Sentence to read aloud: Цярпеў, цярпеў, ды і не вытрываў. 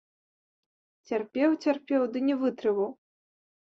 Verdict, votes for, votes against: accepted, 2, 1